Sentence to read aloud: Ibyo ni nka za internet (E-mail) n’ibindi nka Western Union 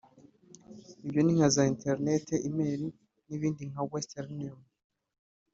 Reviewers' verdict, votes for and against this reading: accepted, 3, 1